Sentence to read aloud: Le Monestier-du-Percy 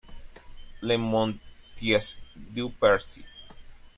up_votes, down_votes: 0, 2